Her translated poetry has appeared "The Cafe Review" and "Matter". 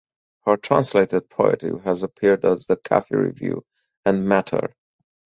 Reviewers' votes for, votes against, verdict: 0, 4, rejected